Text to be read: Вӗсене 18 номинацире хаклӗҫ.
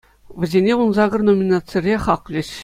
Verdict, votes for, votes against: rejected, 0, 2